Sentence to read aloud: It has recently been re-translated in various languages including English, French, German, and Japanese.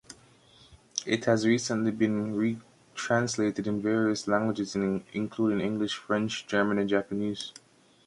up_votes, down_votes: 0, 2